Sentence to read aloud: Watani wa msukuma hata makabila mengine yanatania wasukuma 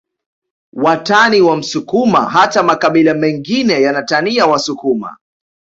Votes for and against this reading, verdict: 2, 0, accepted